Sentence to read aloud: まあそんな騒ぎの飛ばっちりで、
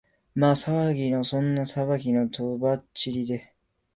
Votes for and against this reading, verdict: 0, 2, rejected